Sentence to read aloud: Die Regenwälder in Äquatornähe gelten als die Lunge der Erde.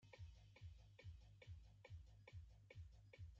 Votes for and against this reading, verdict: 0, 5, rejected